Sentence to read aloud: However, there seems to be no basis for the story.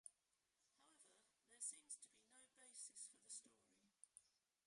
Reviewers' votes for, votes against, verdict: 0, 2, rejected